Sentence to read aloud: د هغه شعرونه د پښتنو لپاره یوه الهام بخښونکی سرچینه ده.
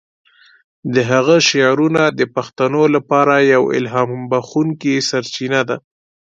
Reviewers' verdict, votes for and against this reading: accepted, 2, 0